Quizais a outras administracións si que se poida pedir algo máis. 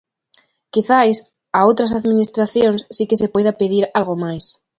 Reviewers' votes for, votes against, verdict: 2, 0, accepted